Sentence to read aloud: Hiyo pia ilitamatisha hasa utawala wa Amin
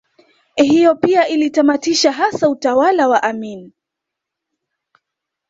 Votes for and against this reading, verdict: 2, 0, accepted